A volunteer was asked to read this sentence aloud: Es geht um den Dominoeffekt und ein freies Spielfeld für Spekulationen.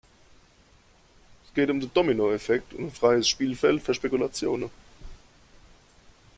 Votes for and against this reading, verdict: 1, 2, rejected